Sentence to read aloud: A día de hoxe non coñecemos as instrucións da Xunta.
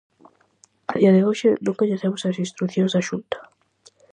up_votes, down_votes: 4, 0